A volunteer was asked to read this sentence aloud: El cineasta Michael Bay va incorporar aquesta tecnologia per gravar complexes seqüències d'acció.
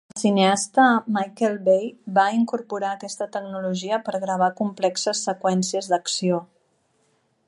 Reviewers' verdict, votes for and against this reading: rejected, 0, 2